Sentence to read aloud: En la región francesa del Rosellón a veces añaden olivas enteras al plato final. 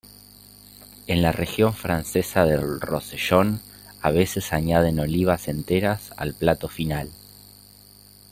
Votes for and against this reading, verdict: 3, 0, accepted